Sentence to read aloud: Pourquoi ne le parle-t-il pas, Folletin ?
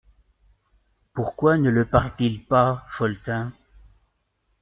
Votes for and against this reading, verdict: 2, 0, accepted